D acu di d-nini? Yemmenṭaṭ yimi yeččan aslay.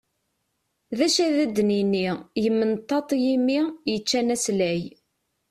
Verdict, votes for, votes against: accepted, 2, 0